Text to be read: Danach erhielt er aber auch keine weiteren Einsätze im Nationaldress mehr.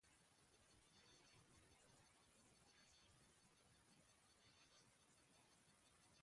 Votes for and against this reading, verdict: 0, 2, rejected